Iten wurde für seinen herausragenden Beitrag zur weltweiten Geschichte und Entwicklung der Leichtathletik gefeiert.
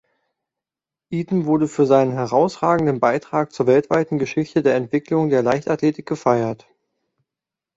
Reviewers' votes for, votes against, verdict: 0, 2, rejected